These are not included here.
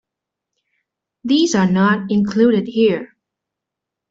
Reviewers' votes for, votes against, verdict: 2, 0, accepted